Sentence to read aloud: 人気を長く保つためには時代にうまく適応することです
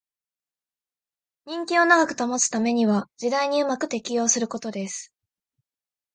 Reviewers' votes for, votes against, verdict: 11, 0, accepted